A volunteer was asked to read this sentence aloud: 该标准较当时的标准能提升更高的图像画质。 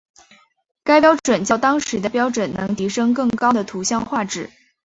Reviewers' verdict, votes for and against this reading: accepted, 2, 0